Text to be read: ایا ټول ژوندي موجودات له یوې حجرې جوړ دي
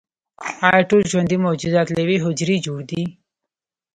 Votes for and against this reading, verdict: 2, 0, accepted